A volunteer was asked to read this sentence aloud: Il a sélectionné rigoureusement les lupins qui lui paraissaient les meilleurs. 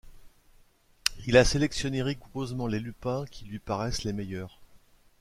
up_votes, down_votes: 1, 2